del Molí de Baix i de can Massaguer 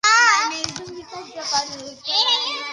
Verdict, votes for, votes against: rejected, 0, 2